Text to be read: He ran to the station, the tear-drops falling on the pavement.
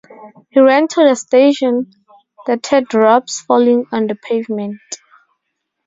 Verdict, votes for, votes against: rejected, 2, 4